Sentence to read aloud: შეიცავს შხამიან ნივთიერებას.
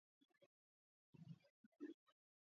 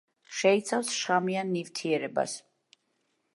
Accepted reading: second